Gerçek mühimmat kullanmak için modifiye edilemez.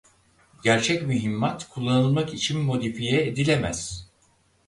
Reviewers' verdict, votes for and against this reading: rejected, 2, 4